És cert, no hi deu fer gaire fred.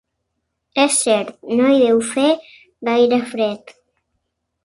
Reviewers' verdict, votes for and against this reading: accepted, 2, 0